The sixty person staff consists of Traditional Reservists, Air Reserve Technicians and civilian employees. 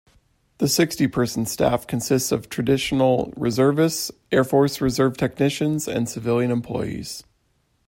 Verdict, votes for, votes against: rejected, 0, 2